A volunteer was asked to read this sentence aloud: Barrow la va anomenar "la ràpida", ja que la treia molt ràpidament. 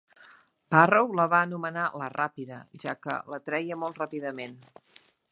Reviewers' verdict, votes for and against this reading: accepted, 2, 0